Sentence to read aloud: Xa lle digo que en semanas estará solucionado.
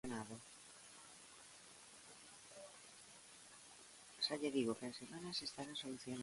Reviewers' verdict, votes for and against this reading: rejected, 1, 2